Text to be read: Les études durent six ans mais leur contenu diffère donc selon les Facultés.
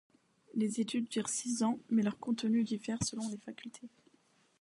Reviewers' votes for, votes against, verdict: 2, 0, accepted